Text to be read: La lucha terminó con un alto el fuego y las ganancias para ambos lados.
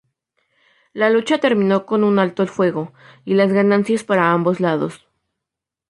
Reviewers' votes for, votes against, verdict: 2, 0, accepted